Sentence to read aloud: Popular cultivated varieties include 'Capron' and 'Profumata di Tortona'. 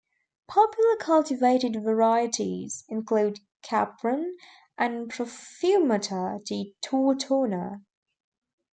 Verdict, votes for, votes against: accepted, 2, 0